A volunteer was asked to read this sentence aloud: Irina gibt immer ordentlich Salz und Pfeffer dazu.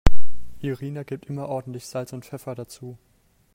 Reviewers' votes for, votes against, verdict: 3, 0, accepted